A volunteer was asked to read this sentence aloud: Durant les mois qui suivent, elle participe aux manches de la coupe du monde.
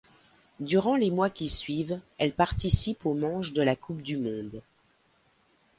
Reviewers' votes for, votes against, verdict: 2, 0, accepted